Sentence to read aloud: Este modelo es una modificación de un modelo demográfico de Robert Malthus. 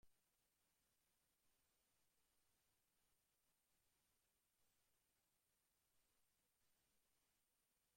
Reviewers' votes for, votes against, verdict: 0, 2, rejected